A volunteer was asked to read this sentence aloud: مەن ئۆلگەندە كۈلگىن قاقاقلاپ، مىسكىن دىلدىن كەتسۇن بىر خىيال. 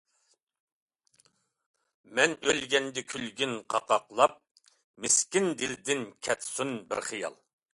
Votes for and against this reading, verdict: 2, 0, accepted